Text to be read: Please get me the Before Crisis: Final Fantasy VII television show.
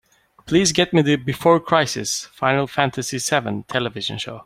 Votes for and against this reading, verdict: 2, 0, accepted